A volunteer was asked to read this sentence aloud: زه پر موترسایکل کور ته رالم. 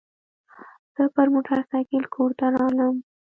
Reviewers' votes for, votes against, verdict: 0, 2, rejected